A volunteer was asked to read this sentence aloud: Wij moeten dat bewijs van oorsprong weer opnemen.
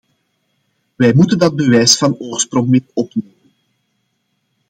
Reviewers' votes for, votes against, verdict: 1, 2, rejected